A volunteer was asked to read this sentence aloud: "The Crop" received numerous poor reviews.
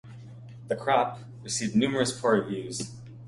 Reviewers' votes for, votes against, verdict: 2, 0, accepted